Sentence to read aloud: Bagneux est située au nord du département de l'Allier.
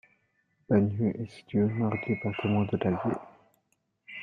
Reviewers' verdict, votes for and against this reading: rejected, 1, 2